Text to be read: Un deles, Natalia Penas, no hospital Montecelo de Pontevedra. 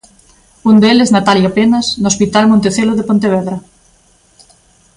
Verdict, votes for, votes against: accepted, 2, 0